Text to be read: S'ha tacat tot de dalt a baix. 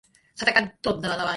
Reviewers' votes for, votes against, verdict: 2, 1, accepted